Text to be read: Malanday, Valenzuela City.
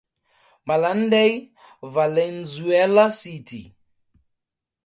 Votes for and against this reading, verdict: 4, 0, accepted